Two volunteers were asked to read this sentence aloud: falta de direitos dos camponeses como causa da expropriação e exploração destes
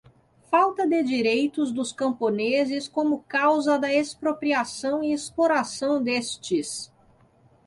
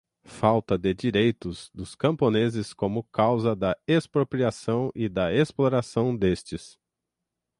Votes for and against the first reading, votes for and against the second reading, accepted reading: 2, 0, 3, 3, first